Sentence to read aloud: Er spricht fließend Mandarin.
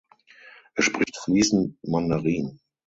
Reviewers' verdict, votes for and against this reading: accepted, 6, 3